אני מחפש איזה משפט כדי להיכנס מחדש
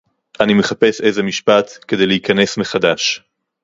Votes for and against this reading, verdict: 2, 0, accepted